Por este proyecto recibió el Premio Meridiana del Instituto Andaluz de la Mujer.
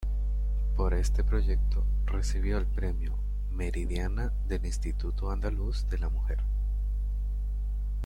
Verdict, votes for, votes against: rejected, 0, 2